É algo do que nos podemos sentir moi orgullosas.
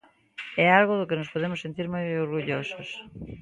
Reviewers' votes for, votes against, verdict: 1, 2, rejected